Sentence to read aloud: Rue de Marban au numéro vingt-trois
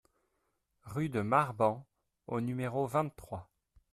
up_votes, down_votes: 2, 0